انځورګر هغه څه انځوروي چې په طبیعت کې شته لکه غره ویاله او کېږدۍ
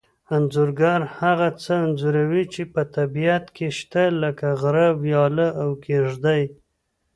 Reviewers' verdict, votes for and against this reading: accepted, 2, 0